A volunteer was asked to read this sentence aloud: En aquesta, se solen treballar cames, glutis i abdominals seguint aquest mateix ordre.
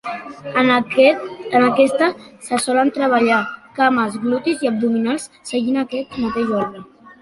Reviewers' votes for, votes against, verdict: 0, 2, rejected